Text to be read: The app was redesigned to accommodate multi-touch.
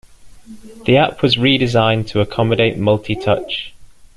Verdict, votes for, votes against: accepted, 2, 0